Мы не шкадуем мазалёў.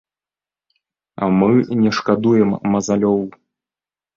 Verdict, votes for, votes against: rejected, 1, 2